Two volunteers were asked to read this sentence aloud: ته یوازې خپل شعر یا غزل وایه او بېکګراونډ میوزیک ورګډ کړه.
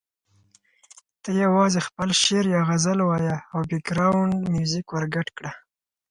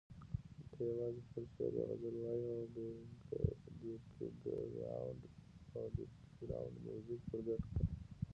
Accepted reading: first